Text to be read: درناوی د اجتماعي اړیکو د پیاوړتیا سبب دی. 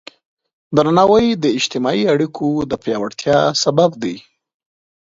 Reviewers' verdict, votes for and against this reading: accepted, 2, 0